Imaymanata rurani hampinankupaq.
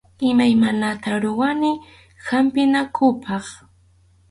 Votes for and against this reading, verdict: 2, 2, rejected